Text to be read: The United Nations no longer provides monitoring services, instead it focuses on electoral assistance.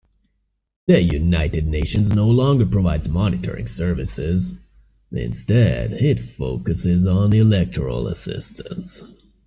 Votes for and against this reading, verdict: 2, 0, accepted